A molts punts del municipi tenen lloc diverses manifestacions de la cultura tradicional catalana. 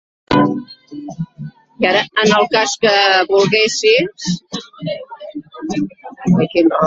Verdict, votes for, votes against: rejected, 0, 2